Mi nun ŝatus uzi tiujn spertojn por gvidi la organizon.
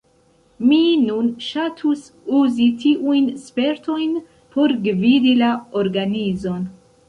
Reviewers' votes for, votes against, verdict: 1, 2, rejected